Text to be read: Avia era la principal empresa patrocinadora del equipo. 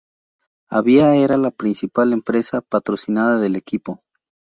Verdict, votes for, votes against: rejected, 0, 4